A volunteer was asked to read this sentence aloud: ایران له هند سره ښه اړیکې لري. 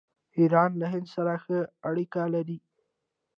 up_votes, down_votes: 2, 0